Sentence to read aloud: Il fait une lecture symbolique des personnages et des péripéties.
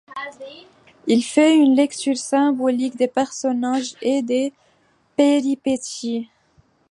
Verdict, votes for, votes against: rejected, 0, 2